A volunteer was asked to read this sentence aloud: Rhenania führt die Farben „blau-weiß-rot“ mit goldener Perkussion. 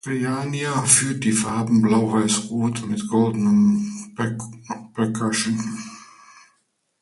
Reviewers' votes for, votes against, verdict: 0, 2, rejected